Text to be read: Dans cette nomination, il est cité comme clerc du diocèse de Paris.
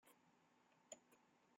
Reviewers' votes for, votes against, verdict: 0, 2, rejected